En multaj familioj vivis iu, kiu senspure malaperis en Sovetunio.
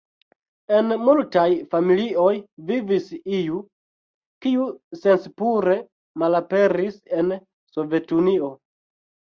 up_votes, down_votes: 1, 2